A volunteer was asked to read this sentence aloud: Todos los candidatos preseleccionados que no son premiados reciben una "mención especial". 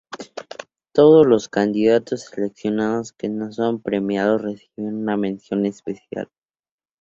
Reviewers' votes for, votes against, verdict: 2, 0, accepted